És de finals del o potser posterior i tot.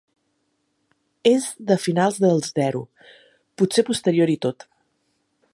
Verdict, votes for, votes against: rejected, 1, 3